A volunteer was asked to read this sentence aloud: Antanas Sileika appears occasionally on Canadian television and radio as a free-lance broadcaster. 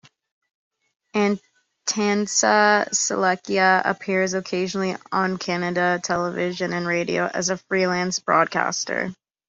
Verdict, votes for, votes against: rejected, 1, 2